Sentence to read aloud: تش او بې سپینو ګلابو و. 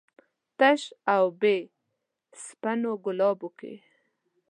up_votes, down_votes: 2, 0